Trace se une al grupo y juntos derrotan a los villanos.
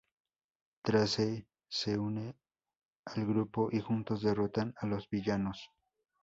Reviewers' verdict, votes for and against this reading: rejected, 0, 2